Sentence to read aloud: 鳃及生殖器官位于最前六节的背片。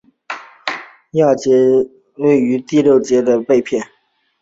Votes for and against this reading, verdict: 0, 4, rejected